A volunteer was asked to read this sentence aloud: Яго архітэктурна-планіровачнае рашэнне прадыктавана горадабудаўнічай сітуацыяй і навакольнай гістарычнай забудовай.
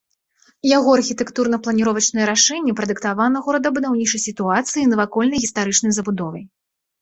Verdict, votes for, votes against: accepted, 2, 0